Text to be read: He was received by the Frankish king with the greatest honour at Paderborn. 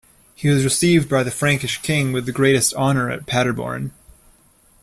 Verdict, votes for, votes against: accepted, 2, 0